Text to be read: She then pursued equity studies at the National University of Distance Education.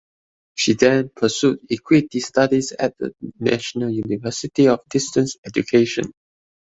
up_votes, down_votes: 3, 0